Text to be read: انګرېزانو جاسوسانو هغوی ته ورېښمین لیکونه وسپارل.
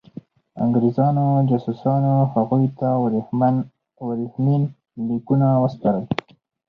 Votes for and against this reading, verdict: 0, 2, rejected